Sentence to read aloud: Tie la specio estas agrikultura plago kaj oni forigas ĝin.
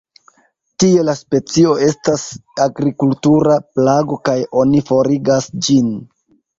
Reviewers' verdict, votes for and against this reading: rejected, 0, 2